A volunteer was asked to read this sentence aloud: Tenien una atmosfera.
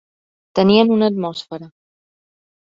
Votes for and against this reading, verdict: 1, 2, rejected